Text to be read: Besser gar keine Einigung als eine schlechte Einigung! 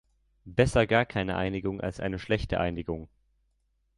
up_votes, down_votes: 2, 0